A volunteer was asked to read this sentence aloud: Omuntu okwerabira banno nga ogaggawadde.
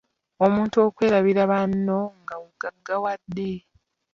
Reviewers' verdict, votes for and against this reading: rejected, 1, 2